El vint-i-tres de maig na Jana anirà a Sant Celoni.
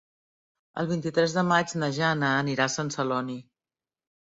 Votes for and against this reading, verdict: 3, 0, accepted